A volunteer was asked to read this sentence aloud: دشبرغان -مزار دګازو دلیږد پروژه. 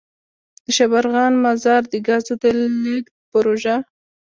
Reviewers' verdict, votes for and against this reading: rejected, 1, 2